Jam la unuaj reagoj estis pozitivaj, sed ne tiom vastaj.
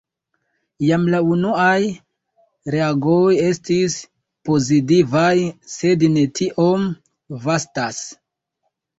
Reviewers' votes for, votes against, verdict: 0, 2, rejected